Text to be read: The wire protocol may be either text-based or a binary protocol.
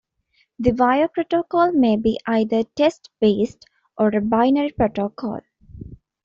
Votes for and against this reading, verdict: 2, 1, accepted